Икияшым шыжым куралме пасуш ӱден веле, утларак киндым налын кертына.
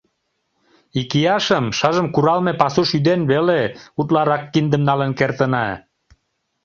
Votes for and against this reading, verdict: 2, 0, accepted